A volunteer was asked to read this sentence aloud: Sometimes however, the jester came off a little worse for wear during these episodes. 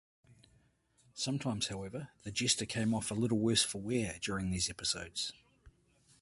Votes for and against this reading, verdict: 2, 1, accepted